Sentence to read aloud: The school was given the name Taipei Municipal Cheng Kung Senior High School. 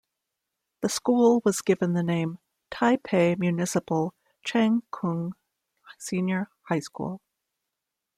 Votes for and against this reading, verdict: 2, 0, accepted